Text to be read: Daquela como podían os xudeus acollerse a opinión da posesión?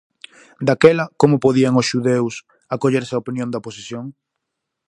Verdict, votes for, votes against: accepted, 4, 0